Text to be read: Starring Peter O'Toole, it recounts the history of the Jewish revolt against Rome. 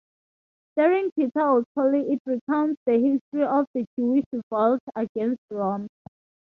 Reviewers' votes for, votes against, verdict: 2, 0, accepted